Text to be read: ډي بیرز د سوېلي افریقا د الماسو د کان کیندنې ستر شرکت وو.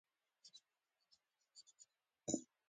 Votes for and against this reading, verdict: 1, 2, rejected